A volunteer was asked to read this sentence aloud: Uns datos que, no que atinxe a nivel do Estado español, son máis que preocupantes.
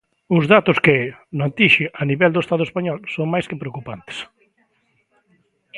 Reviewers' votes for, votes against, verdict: 0, 2, rejected